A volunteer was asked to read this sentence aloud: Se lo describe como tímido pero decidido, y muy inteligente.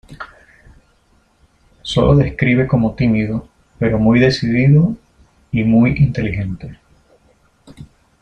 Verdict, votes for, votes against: rejected, 0, 2